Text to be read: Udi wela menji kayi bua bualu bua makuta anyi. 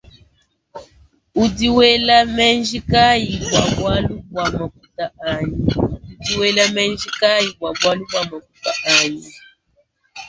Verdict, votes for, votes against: rejected, 1, 2